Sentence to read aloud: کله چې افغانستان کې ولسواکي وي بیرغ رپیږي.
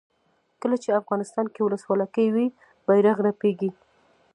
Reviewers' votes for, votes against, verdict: 0, 2, rejected